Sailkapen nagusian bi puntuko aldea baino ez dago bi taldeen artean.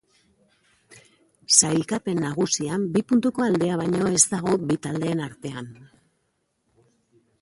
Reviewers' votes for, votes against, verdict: 2, 0, accepted